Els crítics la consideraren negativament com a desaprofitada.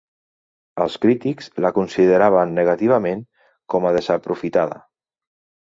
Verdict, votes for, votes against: rejected, 0, 3